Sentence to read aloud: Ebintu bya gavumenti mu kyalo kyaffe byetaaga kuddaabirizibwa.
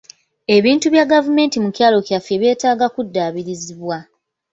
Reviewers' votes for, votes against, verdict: 0, 2, rejected